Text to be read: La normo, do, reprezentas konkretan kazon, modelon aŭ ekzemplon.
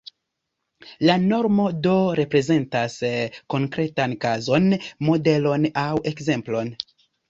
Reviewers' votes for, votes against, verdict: 2, 0, accepted